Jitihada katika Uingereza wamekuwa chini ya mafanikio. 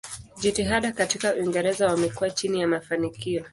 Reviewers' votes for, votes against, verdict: 2, 0, accepted